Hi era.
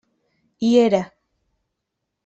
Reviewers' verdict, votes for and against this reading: accepted, 2, 0